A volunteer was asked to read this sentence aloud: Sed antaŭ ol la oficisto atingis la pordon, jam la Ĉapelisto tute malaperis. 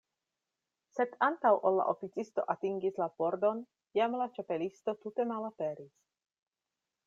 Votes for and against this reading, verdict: 2, 0, accepted